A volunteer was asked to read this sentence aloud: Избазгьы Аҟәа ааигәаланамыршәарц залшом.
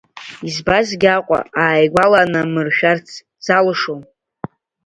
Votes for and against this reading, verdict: 2, 0, accepted